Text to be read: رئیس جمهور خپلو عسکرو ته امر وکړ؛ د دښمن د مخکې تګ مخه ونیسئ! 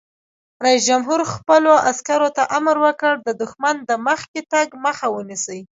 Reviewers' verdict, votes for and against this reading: accepted, 2, 0